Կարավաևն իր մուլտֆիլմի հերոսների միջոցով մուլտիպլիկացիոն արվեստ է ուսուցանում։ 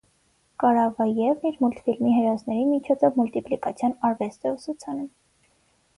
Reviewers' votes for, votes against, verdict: 6, 0, accepted